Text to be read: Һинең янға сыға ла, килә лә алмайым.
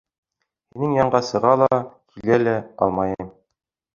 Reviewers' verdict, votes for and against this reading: rejected, 1, 3